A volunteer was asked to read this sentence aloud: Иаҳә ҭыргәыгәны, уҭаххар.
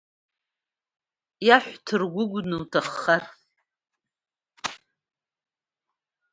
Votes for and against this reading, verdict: 1, 2, rejected